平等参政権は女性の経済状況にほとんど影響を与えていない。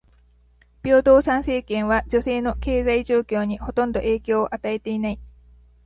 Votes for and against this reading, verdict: 2, 0, accepted